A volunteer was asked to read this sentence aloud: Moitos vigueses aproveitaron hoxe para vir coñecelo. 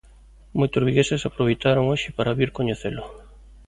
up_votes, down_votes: 2, 0